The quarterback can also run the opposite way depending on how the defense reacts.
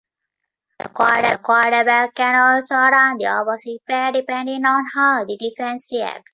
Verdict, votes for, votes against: rejected, 1, 2